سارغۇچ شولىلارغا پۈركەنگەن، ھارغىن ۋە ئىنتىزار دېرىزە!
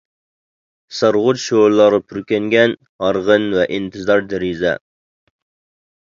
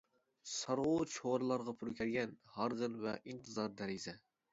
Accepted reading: first